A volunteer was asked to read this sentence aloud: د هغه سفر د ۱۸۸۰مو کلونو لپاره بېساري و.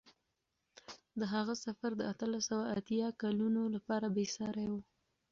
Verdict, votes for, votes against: rejected, 0, 2